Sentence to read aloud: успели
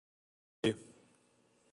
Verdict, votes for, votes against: rejected, 0, 2